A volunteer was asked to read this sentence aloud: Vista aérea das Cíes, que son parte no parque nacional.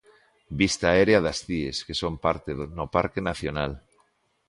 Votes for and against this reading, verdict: 0, 2, rejected